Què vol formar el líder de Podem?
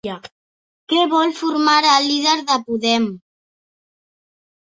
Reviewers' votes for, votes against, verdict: 2, 1, accepted